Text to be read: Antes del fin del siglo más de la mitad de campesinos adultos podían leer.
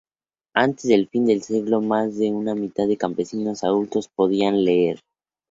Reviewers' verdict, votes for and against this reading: rejected, 2, 2